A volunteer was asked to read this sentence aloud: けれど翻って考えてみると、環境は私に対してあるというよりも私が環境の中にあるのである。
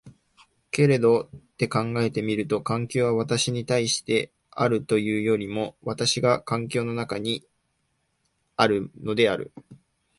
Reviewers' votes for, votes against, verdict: 0, 3, rejected